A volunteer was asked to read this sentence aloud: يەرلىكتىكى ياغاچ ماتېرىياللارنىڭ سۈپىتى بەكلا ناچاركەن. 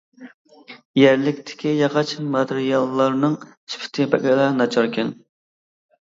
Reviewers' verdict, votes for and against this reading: rejected, 1, 2